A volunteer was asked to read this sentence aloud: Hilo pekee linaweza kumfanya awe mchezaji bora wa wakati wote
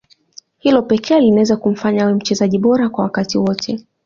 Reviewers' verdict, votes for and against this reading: accepted, 2, 1